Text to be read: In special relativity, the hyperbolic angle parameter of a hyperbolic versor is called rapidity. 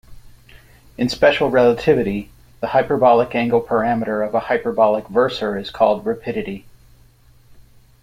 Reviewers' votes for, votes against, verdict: 2, 0, accepted